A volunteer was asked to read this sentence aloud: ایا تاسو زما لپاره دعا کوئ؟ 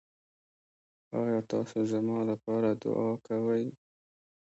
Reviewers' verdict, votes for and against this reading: rejected, 0, 2